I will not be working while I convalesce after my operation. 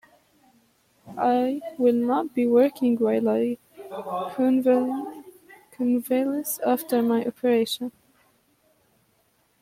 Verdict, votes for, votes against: rejected, 0, 2